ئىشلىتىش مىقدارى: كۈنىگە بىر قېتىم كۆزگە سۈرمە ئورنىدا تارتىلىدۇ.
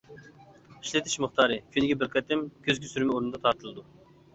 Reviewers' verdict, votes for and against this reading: accepted, 2, 0